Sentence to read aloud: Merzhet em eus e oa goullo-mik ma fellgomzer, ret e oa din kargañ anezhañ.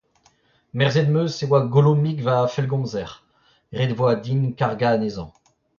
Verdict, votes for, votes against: rejected, 0, 2